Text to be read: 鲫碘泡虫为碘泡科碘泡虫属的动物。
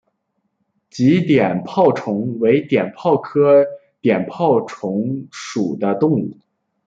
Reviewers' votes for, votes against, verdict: 2, 1, accepted